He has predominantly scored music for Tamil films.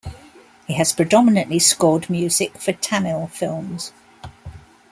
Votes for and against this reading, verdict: 2, 0, accepted